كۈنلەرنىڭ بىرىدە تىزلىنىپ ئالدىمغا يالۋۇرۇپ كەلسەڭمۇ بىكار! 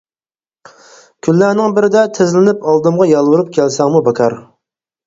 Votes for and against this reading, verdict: 4, 0, accepted